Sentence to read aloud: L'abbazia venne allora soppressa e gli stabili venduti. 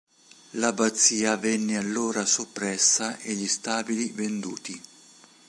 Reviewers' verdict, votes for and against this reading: rejected, 1, 2